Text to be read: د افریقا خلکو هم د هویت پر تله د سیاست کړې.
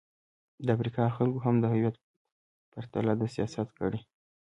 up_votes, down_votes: 1, 2